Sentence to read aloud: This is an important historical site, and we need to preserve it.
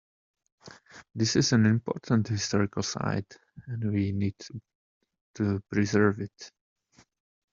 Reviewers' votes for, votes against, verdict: 1, 2, rejected